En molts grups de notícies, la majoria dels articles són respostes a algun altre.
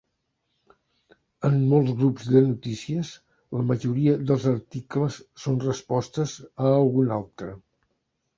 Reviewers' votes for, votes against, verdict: 4, 0, accepted